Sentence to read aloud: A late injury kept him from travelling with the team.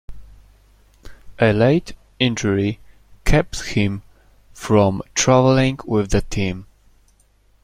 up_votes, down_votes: 2, 0